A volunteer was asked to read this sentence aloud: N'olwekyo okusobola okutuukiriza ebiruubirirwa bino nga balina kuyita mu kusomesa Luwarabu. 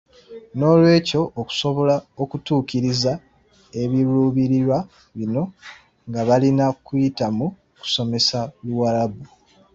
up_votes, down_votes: 0, 2